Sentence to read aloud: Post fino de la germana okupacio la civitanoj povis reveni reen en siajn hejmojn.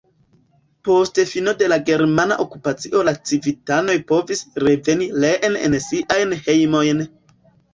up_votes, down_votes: 2, 1